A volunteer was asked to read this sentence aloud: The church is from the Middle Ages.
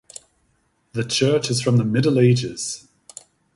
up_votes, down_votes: 2, 0